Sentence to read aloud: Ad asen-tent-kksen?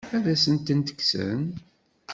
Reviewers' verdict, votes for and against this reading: accepted, 2, 0